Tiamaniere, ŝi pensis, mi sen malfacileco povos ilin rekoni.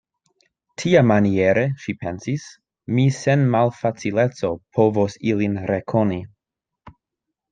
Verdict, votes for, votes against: accepted, 2, 0